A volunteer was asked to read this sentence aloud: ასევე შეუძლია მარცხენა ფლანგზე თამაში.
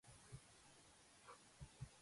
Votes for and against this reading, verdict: 0, 2, rejected